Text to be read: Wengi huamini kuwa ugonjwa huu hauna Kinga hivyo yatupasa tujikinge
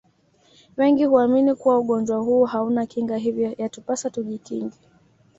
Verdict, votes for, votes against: accepted, 2, 0